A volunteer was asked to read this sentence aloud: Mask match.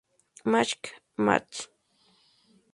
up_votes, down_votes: 0, 2